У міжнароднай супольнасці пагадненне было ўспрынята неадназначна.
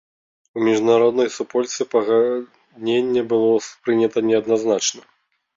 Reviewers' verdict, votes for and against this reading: rejected, 0, 4